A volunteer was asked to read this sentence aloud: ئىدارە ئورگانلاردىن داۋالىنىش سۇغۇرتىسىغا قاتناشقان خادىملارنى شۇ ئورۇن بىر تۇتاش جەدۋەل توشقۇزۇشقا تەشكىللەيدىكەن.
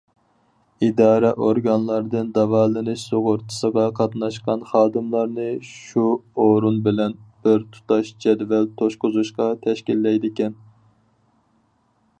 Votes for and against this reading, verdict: 0, 4, rejected